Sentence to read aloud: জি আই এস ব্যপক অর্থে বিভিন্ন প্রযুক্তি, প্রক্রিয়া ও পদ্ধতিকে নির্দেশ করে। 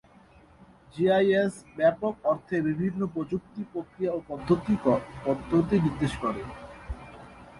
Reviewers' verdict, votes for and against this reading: rejected, 0, 2